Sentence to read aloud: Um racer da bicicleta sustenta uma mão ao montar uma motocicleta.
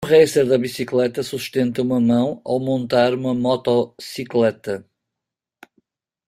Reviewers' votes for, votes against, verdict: 0, 2, rejected